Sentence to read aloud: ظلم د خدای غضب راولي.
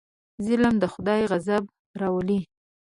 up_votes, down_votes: 2, 0